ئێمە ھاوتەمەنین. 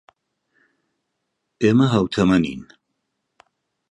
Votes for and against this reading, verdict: 2, 0, accepted